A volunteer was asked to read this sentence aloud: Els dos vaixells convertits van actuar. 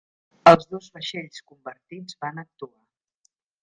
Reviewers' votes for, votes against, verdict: 1, 2, rejected